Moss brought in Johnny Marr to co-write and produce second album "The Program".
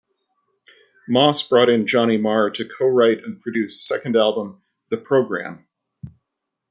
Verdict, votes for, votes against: accepted, 2, 0